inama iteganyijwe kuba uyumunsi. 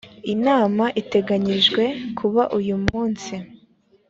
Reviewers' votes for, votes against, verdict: 2, 0, accepted